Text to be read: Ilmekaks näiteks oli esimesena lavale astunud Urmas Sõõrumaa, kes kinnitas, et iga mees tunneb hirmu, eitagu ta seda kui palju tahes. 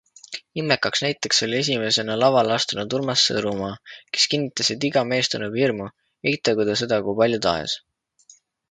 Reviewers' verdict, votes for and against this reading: accepted, 2, 0